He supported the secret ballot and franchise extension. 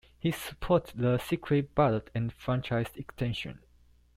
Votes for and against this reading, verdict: 0, 2, rejected